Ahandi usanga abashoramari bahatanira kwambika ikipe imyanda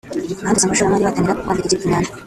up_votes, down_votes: 0, 2